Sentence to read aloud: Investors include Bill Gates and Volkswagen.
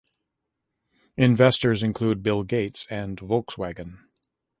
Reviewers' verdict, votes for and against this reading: accepted, 2, 0